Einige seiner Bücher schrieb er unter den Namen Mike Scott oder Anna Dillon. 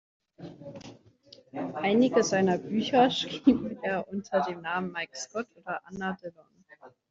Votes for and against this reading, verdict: 1, 2, rejected